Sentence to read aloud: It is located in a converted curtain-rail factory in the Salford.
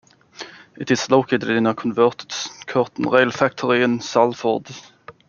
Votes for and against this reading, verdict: 0, 2, rejected